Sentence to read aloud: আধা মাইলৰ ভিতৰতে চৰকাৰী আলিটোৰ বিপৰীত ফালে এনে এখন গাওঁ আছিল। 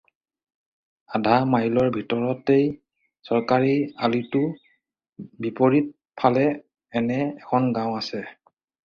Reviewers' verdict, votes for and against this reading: rejected, 2, 4